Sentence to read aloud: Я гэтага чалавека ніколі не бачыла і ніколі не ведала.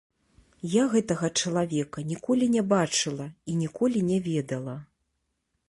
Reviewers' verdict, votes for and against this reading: accepted, 2, 0